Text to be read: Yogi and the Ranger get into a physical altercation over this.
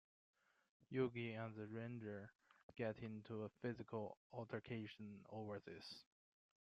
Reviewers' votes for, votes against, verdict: 2, 0, accepted